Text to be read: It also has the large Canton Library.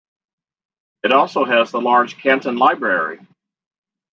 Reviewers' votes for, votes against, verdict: 2, 1, accepted